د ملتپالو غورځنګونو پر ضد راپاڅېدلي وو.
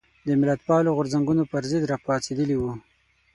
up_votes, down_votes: 6, 0